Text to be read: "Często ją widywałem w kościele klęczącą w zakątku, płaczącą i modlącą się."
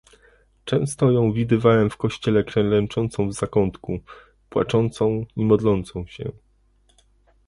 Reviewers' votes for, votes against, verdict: 2, 1, accepted